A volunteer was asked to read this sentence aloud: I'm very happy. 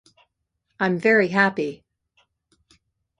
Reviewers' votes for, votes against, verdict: 2, 0, accepted